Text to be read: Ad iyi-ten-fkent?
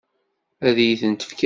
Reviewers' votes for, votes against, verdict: 1, 2, rejected